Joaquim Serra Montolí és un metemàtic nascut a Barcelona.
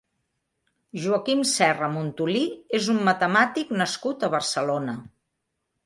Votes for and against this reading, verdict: 2, 0, accepted